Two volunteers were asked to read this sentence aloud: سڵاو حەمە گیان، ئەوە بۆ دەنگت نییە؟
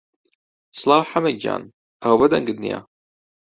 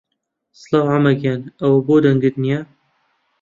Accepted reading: first